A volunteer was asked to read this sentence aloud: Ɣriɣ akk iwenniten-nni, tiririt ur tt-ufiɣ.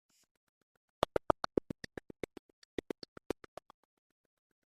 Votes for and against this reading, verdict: 0, 2, rejected